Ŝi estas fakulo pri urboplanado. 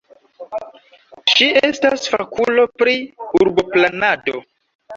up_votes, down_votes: 0, 2